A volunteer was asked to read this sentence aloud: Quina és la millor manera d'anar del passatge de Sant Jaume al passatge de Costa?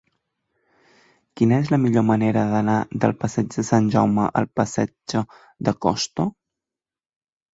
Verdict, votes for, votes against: rejected, 0, 2